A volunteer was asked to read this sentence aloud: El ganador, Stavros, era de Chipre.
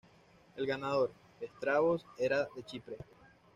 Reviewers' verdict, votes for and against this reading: rejected, 1, 2